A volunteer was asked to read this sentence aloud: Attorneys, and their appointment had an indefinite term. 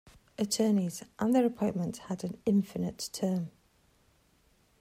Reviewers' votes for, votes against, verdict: 0, 2, rejected